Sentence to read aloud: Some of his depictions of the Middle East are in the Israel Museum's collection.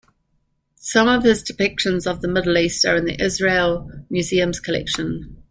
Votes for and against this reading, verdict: 2, 0, accepted